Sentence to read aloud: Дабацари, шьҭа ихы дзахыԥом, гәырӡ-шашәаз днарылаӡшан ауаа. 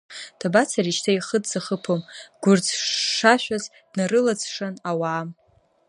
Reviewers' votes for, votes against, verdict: 1, 2, rejected